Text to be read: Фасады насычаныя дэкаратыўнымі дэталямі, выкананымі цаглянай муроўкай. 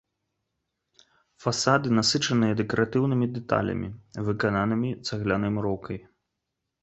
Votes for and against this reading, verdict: 2, 4, rejected